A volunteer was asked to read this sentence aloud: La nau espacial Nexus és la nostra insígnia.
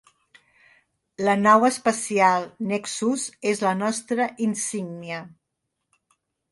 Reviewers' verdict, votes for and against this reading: accepted, 2, 0